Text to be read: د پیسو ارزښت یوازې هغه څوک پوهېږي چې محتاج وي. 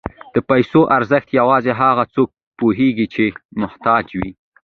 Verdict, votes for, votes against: accepted, 2, 0